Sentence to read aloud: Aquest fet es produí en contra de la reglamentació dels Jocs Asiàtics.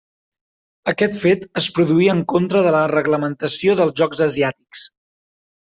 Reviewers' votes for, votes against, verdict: 3, 0, accepted